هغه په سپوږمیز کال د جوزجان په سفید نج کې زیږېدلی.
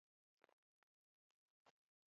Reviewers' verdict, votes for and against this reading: rejected, 1, 2